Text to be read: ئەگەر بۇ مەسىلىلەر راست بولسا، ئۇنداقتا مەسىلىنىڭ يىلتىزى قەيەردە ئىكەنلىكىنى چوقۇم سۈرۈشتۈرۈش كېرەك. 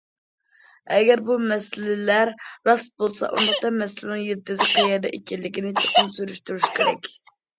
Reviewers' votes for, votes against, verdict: 0, 2, rejected